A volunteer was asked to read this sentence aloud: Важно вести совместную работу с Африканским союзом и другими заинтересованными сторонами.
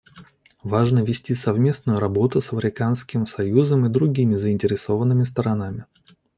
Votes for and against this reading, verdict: 2, 1, accepted